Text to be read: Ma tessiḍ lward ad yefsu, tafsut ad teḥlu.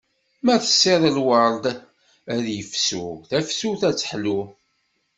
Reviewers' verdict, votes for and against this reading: accepted, 2, 0